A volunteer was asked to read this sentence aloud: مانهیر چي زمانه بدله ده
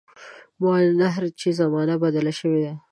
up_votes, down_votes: 1, 2